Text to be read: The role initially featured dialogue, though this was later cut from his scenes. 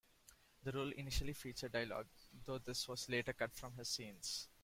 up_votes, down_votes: 1, 2